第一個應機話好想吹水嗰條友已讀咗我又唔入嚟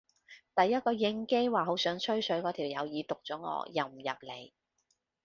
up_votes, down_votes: 3, 0